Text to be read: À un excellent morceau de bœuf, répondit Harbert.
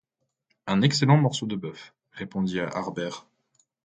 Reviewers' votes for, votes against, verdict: 0, 2, rejected